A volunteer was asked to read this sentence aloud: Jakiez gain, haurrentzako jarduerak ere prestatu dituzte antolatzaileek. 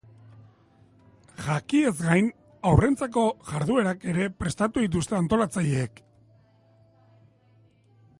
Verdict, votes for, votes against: accepted, 4, 0